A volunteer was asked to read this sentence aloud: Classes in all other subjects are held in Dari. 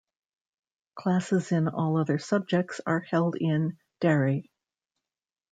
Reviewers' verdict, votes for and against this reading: accepted, 2, 0